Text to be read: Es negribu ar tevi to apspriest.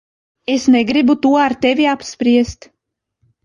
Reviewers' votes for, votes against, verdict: 0, 2, rejected